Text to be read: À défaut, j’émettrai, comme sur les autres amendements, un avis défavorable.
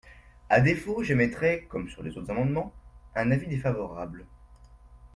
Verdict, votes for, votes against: rejected, 1, 2